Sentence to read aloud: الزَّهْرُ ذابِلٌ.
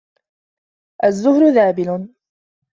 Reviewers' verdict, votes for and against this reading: rejected, 0, 2